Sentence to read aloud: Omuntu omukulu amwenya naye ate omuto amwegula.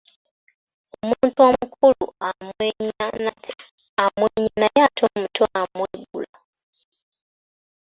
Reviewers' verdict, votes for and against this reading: rejected, 1, 3